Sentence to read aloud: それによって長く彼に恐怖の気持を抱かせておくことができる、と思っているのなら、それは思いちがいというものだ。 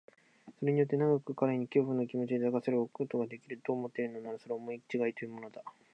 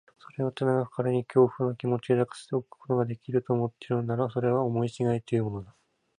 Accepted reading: first